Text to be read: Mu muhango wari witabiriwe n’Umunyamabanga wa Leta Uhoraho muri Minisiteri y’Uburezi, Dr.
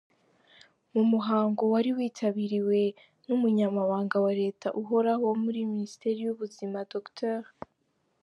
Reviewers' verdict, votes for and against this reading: rejected, 1, 2